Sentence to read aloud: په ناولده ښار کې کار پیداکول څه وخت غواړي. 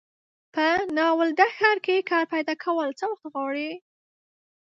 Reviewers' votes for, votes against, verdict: 1, 2, rejected